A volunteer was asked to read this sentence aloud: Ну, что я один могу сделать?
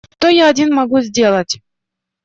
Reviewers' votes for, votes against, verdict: 1, 2, rejected